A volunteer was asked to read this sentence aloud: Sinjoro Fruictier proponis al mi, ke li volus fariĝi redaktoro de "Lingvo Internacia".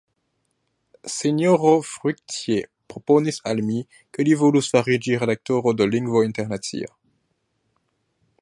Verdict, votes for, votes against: accepted, 2, 0